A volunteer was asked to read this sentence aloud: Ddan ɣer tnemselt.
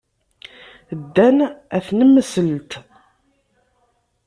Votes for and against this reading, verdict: 0, 2, rejected